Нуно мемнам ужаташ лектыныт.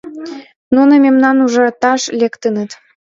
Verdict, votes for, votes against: accepted, 2, 0